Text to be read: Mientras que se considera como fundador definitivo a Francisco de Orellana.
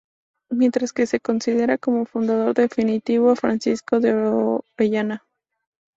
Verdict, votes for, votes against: rejected, 0, 2